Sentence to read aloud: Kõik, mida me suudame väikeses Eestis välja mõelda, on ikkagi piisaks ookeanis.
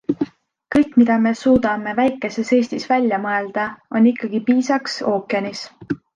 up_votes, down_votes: 2, 0